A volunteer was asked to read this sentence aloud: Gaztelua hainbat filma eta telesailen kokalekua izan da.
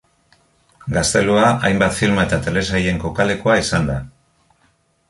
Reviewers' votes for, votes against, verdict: 2, 0, accepted